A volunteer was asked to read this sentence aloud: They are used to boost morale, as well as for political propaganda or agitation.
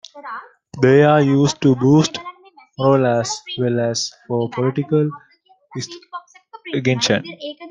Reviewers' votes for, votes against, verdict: 0, 2, rejected